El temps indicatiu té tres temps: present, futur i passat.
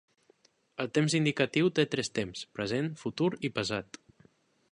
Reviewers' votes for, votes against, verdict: 0, 2, rejected